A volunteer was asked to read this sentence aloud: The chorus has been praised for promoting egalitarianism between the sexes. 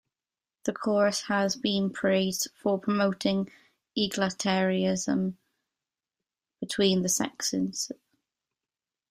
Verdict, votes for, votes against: accepted, 2, 0